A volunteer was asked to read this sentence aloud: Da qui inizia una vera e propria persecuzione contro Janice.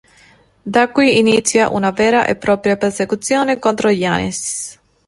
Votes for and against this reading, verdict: 2, 0, accepted